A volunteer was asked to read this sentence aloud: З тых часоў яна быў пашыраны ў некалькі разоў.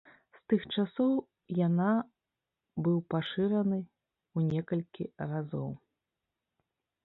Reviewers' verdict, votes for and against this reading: rejected, 1, 2